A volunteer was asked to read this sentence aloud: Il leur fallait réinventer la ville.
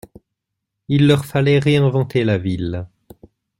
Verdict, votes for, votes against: accepted, 2, 0